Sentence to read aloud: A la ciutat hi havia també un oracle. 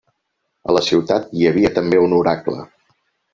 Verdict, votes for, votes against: accepted, 5, 1